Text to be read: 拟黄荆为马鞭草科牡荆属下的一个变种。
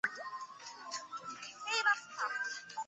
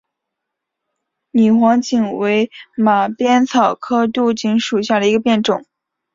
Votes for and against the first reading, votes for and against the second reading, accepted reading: 1, 4, 3, 0, second